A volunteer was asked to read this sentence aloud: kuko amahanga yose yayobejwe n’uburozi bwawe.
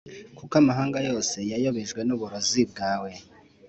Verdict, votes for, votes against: accepted, 2, 0